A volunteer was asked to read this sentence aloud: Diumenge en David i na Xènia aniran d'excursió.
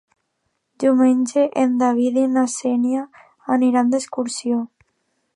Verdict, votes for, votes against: accepted, 2, 0